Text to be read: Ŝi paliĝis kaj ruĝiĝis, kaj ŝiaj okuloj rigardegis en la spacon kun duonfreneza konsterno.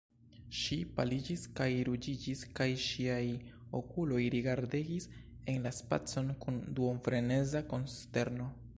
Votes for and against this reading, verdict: 2, 1, accepted